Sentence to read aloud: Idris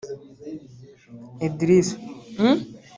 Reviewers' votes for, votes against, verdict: 1, 2, rejected